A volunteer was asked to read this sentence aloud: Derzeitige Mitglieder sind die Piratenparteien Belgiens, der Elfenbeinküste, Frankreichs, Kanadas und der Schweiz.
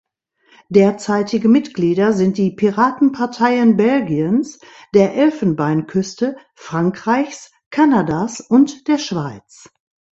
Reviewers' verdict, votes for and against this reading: accepted, 2, 0